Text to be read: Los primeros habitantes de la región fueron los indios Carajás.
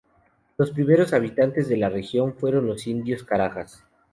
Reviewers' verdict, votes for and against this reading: rejected, 0, 2